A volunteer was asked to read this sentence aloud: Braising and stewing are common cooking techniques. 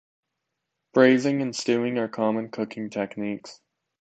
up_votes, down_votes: 2, 0